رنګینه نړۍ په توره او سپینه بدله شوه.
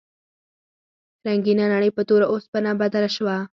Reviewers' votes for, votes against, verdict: 4, 0, accepted